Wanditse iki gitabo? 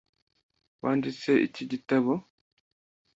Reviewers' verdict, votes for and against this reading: accepted, 2, 0